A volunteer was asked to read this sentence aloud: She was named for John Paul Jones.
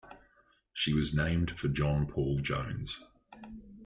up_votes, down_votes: 2, 0